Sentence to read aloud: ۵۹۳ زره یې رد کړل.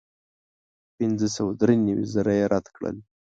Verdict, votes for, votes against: rejected, 0, 2